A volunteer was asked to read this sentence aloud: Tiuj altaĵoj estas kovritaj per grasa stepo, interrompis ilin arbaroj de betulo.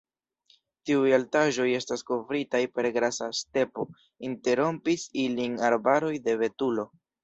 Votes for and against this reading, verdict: 2, 0, accepted